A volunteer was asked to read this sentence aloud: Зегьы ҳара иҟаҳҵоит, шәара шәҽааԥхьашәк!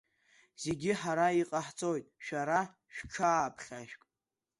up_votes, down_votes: 1, 2